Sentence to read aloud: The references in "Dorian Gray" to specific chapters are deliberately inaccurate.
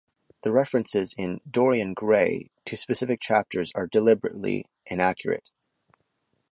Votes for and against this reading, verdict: 2, 1, accepted